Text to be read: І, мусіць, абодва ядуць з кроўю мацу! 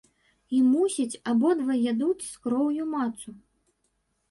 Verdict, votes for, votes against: rejected, 1, 3